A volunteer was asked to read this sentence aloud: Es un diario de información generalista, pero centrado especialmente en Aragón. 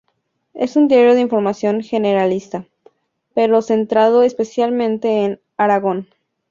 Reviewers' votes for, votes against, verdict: 2, 0, accepted